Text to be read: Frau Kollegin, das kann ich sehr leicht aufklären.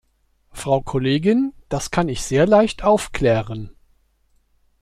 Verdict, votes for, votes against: accepted, 2, 0